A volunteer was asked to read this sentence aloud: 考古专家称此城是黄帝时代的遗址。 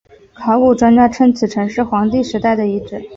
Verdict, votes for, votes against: accepted, 2, 0